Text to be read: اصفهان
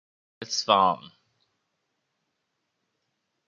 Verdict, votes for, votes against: accepted, 2, 0